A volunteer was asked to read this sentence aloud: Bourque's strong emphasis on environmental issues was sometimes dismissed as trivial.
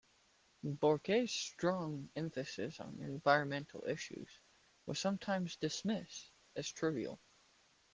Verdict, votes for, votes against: rejected, 1, 2